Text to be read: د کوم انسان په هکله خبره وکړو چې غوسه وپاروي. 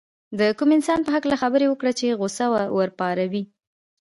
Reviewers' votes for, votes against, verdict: 2, 0, accepted